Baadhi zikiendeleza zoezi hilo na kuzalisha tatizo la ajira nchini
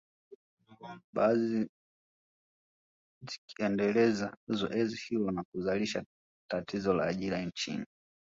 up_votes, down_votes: 1, 2